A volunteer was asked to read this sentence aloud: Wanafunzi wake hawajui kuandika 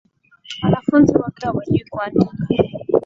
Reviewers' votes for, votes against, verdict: 4, 1, accepted